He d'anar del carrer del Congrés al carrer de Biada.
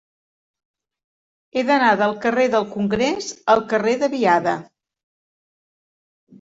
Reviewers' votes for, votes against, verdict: 2, 0, accepted